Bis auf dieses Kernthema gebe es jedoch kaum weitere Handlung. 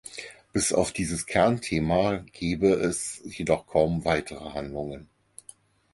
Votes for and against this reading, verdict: 2, 6, rejected